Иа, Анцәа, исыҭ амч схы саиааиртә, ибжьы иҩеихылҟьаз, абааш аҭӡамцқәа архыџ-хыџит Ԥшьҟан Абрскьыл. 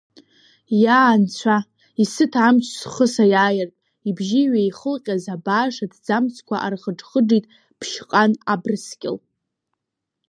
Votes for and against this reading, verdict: 3, 2, accepted